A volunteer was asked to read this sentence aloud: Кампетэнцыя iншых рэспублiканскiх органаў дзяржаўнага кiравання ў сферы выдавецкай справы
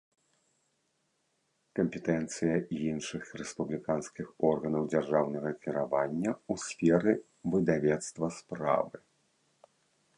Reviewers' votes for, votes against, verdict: 0, 2, rejected